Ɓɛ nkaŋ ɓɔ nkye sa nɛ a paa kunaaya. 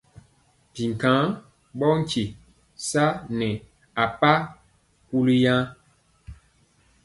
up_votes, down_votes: 2, 0